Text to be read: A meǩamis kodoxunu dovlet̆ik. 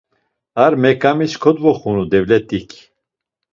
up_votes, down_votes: 2, 0